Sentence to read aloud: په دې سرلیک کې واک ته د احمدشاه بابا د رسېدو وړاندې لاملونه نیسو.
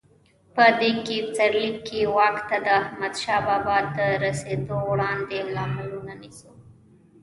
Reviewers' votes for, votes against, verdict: 0, 2, rejected